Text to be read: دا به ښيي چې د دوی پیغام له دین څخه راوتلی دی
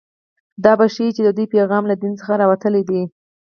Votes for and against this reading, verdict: 0, 4, rejected